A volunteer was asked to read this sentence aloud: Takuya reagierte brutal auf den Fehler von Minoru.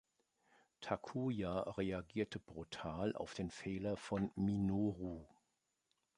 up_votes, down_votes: 2, 0